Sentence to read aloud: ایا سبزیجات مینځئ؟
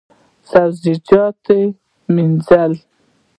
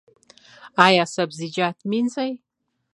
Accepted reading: second